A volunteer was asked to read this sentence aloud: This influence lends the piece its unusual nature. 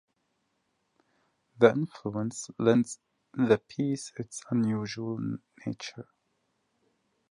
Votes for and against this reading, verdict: 1, 2, rejected